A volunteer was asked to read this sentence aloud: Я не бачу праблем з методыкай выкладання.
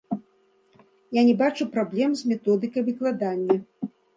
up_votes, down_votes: 2, 0